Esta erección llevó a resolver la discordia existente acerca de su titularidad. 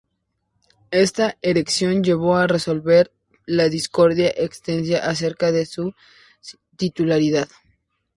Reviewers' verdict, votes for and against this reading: rejected, 0, 2